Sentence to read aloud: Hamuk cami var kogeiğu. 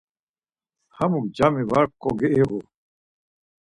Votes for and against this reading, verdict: 4, 0, accepted